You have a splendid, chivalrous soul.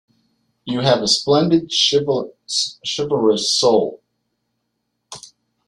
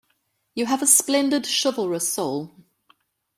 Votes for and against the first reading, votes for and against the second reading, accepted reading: 0, 2, 2, 0, second